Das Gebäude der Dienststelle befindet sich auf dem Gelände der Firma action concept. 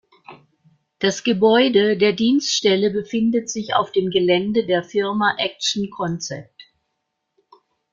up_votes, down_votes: 2, 0